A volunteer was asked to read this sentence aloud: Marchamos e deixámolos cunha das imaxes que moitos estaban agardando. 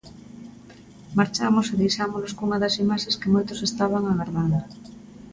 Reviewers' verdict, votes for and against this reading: accepted, 2, 0